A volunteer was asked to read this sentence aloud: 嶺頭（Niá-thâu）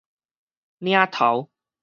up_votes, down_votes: 4, 0